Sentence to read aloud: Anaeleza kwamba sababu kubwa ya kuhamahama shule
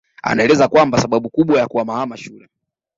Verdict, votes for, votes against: accepted, 2, 0